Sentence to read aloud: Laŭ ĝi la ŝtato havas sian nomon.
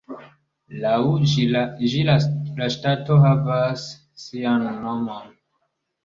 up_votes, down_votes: 2, 1